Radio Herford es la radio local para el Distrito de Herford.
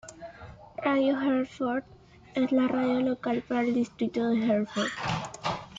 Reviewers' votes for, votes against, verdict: 2, 0, accepted